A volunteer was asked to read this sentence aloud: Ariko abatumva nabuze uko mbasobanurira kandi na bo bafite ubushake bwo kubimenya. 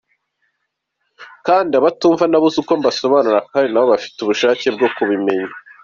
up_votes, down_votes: 1, 2